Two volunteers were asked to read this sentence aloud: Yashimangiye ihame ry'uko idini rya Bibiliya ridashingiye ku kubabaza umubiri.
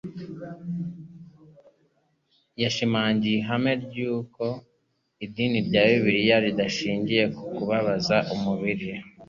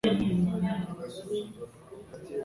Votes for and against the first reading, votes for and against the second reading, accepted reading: 2, 0, 1, 2, first